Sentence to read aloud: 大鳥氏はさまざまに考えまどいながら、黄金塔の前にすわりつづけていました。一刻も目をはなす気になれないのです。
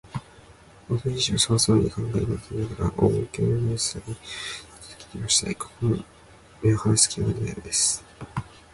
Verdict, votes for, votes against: rejected, 0, 2